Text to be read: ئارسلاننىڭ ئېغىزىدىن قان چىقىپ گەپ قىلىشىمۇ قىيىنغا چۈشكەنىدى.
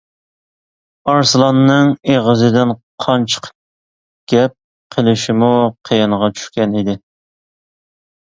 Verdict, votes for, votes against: accepted, 2, 0